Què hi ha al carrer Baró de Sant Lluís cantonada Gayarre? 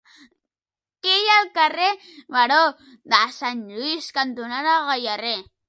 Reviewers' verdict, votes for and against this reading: rejected, 1, 2